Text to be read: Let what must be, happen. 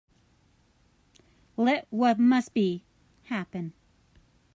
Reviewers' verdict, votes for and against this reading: accepted, 2, 1